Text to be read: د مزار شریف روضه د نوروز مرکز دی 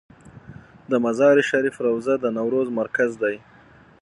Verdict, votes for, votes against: accepted, 6, 0